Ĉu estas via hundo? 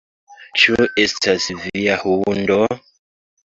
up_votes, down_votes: 2, 0